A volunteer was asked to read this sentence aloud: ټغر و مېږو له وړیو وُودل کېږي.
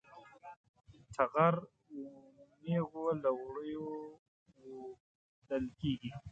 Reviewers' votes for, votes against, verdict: 1, 2, rejected